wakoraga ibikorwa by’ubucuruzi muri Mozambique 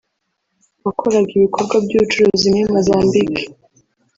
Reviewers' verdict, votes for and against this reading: rejected, 2, 3